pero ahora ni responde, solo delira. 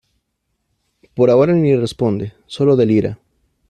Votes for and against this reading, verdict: 1, 2, rejected